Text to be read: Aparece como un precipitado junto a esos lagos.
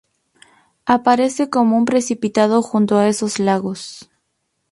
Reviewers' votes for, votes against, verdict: 0, 2, rejected